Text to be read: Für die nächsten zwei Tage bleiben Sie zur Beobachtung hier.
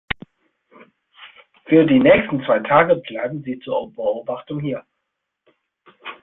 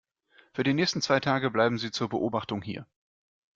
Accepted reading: second